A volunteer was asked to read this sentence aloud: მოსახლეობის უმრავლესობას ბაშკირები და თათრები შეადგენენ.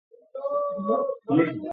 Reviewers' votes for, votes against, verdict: 0, 2, rejected